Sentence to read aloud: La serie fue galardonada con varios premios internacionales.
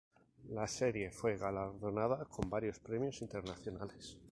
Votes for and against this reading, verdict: 2, 2, rejected